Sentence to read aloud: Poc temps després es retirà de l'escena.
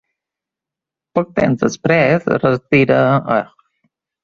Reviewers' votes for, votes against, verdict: 1, 2, rejected